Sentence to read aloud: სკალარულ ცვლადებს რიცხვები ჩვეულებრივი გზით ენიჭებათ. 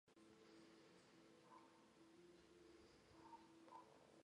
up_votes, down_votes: 1, 2